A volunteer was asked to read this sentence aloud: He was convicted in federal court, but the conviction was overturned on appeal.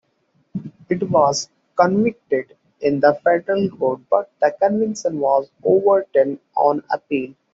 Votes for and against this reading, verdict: 1, 2, rejected